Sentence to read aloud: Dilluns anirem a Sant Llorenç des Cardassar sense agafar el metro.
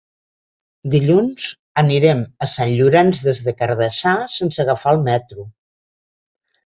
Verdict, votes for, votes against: rejected, 0, 2